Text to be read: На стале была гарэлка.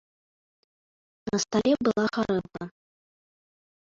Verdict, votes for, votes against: rejected, 1, 2